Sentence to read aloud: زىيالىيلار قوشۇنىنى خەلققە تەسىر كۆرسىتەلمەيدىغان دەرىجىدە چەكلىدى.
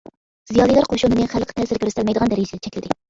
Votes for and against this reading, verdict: 0, 2, rejected